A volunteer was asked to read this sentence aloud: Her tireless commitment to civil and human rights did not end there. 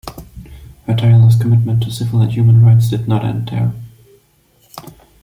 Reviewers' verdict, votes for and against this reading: accepted, 2, 0